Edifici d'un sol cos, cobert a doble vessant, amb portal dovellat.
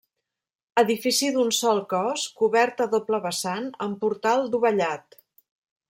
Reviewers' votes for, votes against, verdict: 0, 2, rejected